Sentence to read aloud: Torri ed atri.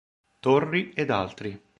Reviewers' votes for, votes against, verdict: 0, 3, rejected